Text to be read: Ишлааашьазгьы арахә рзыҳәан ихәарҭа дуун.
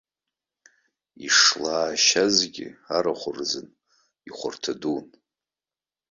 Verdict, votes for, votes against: accepted, 2, 0